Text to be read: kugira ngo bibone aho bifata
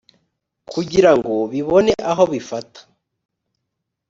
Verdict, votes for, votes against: accepted, 2, 0